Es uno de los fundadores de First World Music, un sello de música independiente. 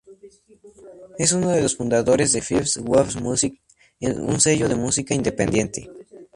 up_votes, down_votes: 2, 0